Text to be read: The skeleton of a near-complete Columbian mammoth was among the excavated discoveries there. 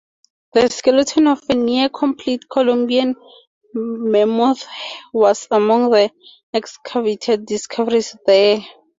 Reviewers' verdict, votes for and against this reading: accepted, 2, 0